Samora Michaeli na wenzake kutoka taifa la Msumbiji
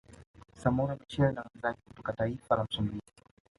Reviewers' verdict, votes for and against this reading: rejected, 1, 2